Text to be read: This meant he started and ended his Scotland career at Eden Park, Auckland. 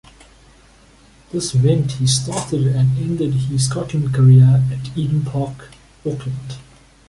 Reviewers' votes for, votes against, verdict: 2, 0, accepted